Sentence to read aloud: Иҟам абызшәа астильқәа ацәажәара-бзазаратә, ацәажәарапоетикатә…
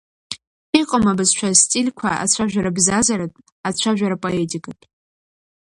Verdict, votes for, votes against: accepted, 2, 1